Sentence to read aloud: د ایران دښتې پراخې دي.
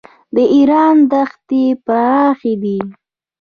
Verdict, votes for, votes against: accepted, 2, 0